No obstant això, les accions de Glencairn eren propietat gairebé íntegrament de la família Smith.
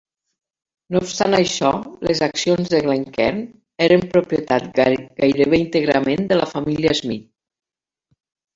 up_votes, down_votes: 2, 3